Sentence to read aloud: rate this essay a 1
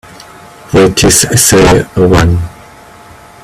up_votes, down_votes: 0, 2